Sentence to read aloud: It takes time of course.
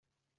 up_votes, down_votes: 0, 3